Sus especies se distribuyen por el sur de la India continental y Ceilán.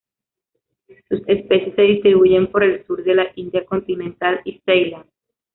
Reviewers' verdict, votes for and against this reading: rejected, 1, 2